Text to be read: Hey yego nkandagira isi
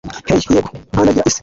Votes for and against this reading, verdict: 1, 2, rejected